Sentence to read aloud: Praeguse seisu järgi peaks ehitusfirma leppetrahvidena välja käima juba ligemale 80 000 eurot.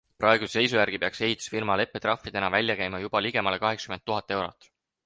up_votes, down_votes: 0, 2